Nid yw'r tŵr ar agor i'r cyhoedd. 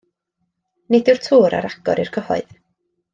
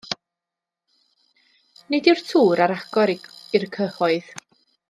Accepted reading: first